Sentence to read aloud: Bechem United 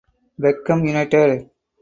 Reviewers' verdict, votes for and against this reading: rejected, 0, 4